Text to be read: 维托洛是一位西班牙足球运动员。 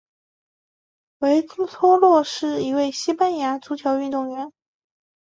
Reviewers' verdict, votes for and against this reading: rejected, 1, 2